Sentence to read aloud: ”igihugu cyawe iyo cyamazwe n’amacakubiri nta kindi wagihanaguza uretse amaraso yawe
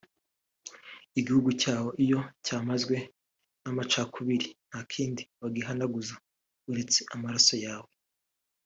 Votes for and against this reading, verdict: 2, 0, accepted